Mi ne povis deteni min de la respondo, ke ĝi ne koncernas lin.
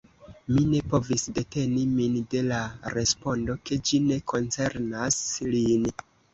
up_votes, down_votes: 2, 0